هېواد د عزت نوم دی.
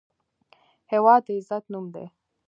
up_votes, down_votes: 2, 0